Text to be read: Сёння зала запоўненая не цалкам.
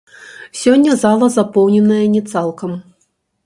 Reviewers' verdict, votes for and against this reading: rejected, 0, 2